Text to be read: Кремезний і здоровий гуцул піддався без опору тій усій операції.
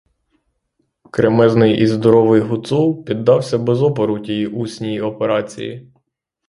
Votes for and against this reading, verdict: 3, 3, rejected